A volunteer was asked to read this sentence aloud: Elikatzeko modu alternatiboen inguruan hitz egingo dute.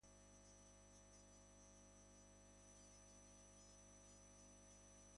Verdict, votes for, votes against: rejected, 0, 2